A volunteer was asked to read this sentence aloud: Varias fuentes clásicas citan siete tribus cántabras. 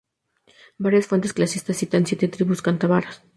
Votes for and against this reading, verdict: 0, 2, rejected